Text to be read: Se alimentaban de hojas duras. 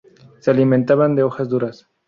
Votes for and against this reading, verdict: 4, 0, accepted